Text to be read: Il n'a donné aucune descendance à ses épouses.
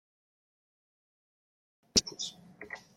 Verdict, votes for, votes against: rejected, 1, 2